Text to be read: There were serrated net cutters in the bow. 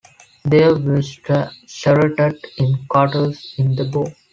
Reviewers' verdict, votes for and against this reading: rejected, 1, 3